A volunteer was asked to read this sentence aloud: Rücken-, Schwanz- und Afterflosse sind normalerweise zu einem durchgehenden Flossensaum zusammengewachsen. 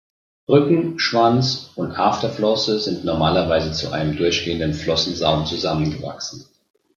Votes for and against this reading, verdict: 2, 0, accepted